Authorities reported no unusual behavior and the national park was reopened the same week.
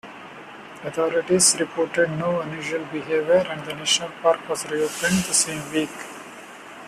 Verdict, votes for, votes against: accepted, 2, 0